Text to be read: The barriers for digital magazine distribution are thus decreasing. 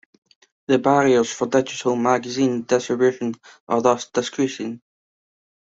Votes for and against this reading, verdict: 1, 2, rejected